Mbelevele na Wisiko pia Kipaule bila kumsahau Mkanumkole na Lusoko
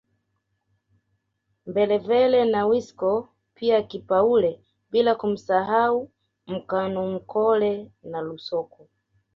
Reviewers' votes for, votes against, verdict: 2, 0, accepted